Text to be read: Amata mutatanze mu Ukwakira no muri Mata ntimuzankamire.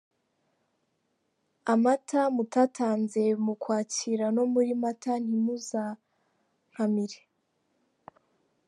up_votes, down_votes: 2, 0